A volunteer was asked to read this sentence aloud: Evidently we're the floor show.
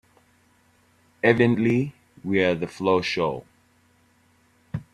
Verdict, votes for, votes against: rejected, 2, 3